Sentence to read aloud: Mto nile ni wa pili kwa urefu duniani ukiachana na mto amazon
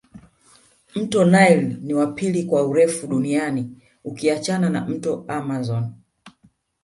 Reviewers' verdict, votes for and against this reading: rejected, 1, 2